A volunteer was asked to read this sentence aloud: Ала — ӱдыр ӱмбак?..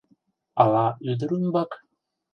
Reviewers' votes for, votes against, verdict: 2, 0, accepted